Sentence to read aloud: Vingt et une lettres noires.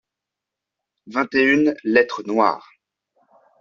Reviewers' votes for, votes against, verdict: 2, 0, accepted